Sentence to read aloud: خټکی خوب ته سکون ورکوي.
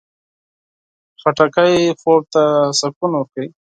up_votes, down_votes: 4, 0